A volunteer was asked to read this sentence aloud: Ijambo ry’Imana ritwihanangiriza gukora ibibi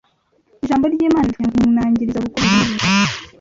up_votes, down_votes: 1, 2